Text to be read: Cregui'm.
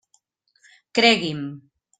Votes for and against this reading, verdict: 3, 0, accepted